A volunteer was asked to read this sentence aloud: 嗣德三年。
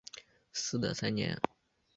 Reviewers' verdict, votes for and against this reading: accepted, 2, 0